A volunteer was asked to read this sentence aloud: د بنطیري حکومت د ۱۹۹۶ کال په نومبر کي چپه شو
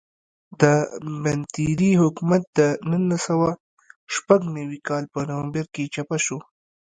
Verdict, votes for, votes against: rejected, 0, 2